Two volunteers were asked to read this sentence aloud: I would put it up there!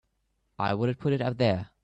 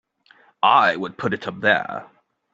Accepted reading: second